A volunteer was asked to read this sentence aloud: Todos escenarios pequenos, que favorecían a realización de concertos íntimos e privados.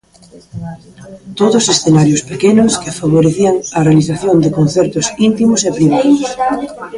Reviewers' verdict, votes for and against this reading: rejected, 1, 2